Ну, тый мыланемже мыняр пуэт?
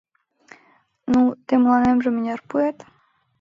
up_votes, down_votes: 2, 0